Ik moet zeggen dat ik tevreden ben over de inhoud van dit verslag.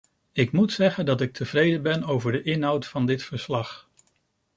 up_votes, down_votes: 2, 0